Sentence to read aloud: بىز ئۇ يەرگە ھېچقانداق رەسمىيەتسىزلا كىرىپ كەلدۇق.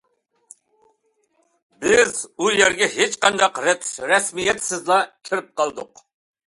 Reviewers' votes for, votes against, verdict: 0, 2, rejected